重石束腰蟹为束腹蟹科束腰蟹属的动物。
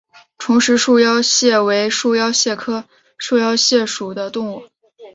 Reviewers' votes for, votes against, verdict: 3, 0, accepted